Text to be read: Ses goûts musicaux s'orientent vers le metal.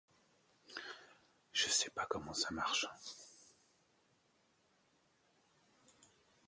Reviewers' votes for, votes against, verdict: 0, 2, rejected